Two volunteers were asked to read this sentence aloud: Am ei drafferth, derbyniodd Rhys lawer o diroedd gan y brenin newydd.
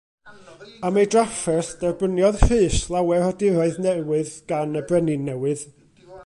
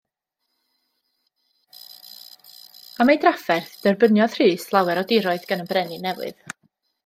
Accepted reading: second